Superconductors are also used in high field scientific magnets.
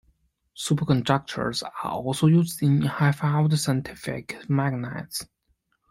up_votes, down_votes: 1, 2